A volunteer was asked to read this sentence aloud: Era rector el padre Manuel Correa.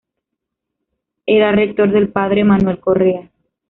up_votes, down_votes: 2, 0